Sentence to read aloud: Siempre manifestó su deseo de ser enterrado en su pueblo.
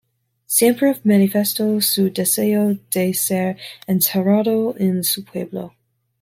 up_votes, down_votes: 2, 0